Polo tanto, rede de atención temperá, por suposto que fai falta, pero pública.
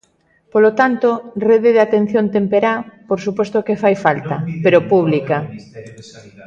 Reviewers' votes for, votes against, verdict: 1, 2, rejected